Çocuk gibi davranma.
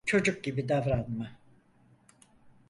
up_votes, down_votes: 4, 0